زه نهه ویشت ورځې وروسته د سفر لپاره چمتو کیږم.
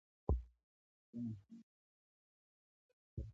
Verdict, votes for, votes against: rejected, 1, 2